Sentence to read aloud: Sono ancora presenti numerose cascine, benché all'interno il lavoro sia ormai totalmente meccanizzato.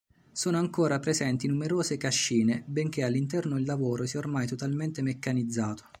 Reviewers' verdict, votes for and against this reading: accepted, 2, 0